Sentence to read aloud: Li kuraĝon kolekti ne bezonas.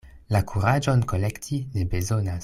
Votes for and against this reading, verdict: 0, 2, rejected